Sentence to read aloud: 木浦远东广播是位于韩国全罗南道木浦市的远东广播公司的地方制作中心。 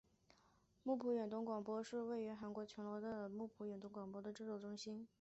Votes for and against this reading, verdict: 4, 2, accepted